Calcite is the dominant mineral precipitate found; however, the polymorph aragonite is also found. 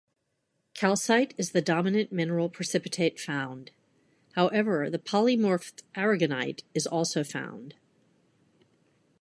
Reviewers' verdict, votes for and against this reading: accepted, 2, 0